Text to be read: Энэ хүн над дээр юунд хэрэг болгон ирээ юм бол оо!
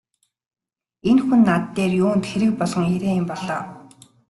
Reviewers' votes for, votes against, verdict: 2, 0, accepted